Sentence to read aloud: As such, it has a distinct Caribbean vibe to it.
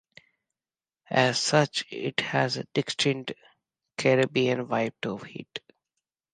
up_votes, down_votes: 1, 2